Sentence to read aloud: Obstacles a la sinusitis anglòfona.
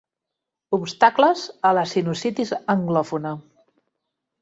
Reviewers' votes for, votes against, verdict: 2, 0, accepted